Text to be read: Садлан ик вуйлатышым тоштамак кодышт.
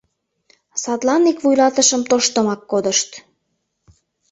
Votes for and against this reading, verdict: 0, 2, rejected